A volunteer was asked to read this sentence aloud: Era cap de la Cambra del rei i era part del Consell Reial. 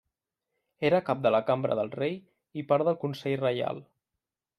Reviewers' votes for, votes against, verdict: 0, 2, rejected